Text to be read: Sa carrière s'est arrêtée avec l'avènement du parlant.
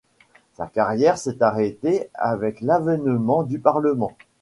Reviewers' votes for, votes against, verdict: 1, 2, rejected